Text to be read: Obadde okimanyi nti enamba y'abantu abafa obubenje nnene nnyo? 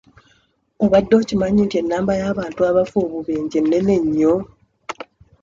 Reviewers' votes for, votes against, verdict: 2, 1, accepted